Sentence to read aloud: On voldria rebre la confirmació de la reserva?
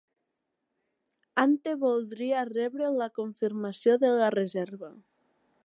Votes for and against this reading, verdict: 0, 5, rejected